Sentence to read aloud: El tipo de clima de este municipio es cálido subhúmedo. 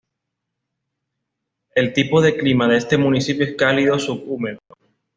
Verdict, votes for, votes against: accepted, 2, 0